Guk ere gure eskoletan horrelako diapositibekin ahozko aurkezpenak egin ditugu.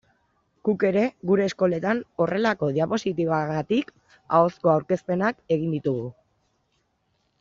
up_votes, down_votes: 1, 2